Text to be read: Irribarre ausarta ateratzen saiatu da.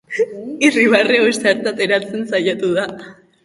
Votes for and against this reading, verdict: 0, 2, rejected